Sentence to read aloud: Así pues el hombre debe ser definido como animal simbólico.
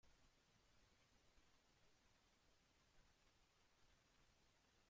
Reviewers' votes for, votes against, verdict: 0, 2, rejected